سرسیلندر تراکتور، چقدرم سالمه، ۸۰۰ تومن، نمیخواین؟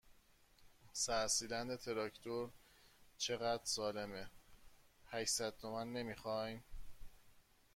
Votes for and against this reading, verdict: 0, 2, rejected